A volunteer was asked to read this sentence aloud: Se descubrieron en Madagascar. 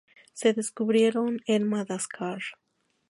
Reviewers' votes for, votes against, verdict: 0, 2, rejected